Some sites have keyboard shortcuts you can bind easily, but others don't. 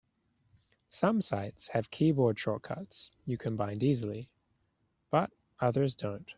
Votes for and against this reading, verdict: 2, 1, accepted